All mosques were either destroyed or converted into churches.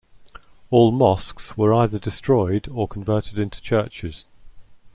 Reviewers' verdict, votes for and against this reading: accepted, 2, 1